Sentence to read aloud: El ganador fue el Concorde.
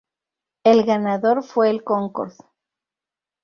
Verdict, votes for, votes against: rejected, 0, 2